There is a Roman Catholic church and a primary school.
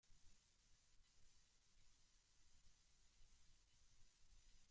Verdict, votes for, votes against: rejected, 0, 2